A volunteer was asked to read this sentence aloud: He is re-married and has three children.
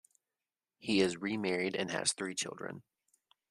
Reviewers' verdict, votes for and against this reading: accepted, 2, 0